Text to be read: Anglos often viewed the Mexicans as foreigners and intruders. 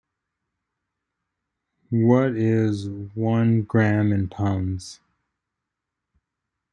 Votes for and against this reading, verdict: 0, 2, rejected